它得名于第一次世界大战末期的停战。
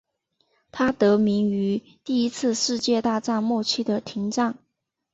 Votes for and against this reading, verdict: 2, 1, accepted